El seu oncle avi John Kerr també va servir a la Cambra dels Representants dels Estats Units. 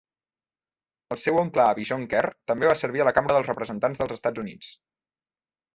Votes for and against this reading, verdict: 2, 0, accepted